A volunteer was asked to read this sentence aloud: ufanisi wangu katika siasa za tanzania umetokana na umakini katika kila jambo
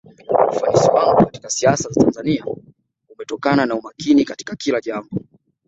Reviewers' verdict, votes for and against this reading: rejected, 0, 2